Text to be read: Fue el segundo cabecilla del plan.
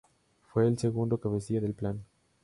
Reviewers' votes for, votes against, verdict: 6, 0, accepted